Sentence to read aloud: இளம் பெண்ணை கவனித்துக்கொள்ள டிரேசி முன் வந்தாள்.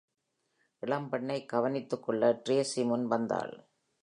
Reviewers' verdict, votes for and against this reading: accepted, 2, 0